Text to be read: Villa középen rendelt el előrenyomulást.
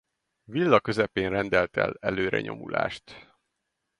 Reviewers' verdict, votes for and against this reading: rejected, 0, 2